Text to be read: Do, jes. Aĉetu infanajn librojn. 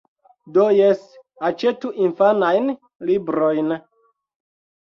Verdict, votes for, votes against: accepted, 2, 0